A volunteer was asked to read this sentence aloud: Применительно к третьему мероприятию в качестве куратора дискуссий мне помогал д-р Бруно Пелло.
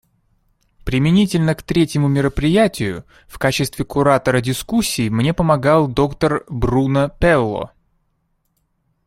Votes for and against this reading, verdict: 2, 0, accepted